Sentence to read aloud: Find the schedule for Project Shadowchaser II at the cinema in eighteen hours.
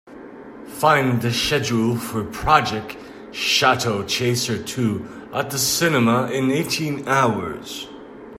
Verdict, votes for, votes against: rejected, 1, 2